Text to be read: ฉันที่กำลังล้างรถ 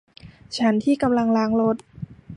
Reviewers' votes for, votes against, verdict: 2, 0, accepted